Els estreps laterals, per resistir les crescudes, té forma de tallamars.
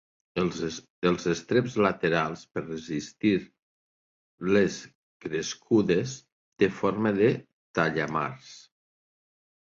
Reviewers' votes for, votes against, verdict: 2, 3, rejected